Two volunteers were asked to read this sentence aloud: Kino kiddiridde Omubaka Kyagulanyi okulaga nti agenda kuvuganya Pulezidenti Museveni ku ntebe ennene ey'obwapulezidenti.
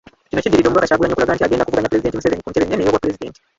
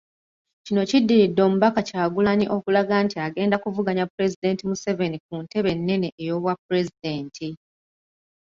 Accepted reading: second